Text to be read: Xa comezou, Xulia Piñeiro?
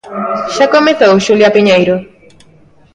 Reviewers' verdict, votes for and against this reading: accepted, 2, 0